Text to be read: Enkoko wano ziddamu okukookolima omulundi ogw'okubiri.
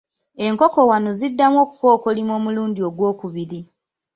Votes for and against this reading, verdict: 2, 1, accepted